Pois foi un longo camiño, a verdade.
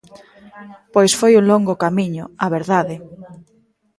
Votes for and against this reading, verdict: 1, 2, rejected